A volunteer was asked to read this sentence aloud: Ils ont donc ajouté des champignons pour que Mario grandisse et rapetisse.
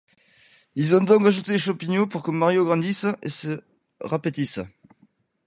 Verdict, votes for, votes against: rejected, 1, 2